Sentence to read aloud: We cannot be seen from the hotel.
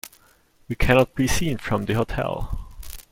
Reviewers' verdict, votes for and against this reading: accepted, 2, 0